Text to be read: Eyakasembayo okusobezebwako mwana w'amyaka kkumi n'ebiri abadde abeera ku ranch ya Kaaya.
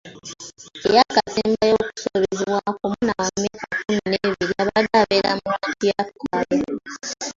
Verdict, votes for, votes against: accepted, 2, 1